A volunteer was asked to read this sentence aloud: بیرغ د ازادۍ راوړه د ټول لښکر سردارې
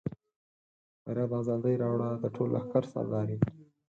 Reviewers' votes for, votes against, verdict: 0, 4, rejected